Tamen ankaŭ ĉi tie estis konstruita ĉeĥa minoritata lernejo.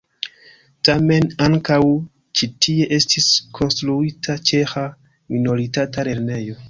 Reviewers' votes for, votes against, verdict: 2, 0, accepted